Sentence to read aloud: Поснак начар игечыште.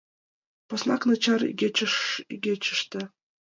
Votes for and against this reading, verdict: 1, 2, rejected